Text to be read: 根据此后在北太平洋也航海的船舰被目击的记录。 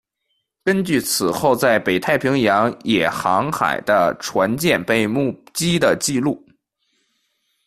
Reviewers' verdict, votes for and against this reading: rejected, 1, 2